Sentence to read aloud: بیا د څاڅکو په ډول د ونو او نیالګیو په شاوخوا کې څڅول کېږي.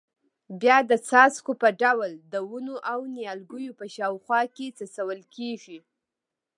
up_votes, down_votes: 2, 0